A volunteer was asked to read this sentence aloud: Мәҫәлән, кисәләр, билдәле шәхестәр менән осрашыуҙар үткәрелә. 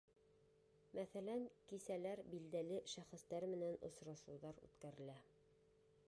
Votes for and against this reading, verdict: 3, 2, accepted